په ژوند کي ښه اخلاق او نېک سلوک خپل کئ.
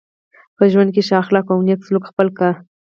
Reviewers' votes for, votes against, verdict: 4, 6, rejected